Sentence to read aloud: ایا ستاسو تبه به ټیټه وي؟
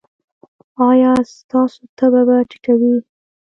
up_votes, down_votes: 1, 2